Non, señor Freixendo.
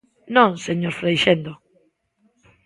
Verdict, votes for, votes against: accepted, 2, 1